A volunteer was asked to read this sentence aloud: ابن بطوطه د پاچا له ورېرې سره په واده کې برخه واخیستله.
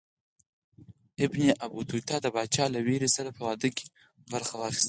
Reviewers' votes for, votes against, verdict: 4, 0, accepted